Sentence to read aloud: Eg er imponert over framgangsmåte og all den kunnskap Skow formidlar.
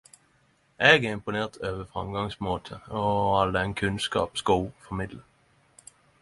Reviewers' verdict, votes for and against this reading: accepted, 10, 0